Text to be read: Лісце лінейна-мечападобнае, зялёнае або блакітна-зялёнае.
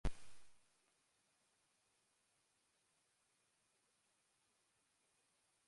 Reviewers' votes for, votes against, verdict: 0, 2, rejected